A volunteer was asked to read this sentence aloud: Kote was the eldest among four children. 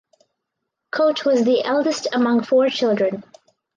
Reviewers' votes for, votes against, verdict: 4, 0, accepted